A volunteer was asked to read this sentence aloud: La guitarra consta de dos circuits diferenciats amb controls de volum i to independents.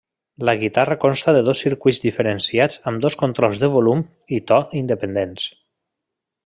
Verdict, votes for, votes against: rejected, 0, 2